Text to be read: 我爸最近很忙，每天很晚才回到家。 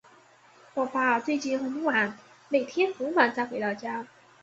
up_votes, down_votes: 1, 2